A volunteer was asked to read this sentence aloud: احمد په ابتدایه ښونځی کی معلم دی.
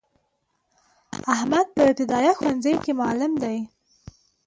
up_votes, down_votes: 2, 0